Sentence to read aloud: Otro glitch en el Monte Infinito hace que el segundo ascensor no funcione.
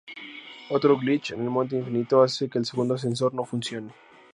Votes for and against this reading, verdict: 0, 2, rejected